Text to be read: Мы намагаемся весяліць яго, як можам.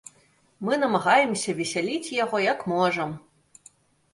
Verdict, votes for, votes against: accepted, 2, 0